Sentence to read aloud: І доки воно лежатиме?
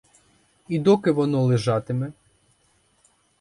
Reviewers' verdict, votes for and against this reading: accepted, 6, 0